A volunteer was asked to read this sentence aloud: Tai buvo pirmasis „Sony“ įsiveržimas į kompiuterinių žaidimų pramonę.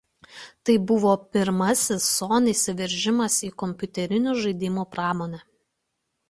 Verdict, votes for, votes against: accepted, 2, 0